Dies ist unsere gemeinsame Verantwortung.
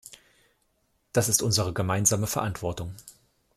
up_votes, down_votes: 1, 2